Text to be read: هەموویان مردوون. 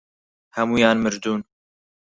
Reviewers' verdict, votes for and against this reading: accepted, 4, 2